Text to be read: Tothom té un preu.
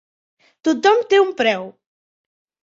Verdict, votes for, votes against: accepted, 3, 0